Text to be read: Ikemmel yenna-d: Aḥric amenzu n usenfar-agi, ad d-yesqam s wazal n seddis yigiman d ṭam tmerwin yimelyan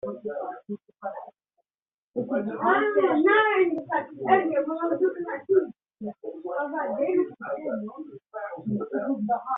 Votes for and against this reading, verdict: 0, 2, rejected